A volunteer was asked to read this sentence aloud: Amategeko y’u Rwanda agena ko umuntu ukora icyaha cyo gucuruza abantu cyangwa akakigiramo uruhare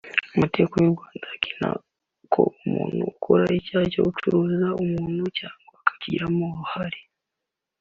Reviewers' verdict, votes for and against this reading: rejected, 0, 2